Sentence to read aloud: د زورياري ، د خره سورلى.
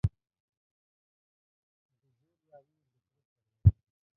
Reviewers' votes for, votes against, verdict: 0, 2, rejected